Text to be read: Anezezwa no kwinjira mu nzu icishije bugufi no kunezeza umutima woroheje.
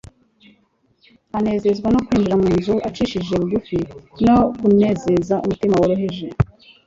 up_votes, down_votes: 3, 1